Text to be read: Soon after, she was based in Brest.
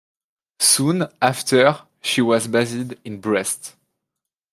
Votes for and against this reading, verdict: 1, 2, rejected